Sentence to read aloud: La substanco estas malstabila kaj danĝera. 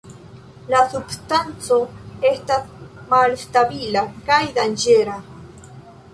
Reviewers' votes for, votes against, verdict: 1, 2, rejected